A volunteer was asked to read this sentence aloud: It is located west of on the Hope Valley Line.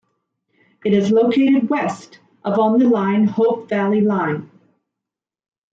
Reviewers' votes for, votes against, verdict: 1, 2, rejected